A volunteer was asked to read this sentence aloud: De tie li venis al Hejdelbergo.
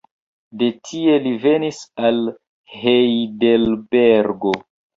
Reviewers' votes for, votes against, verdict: 2, 1, accepted